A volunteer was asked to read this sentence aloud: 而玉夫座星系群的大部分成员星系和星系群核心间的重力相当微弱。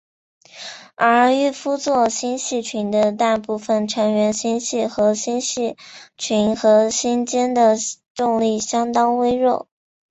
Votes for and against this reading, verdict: 4, 0, accepted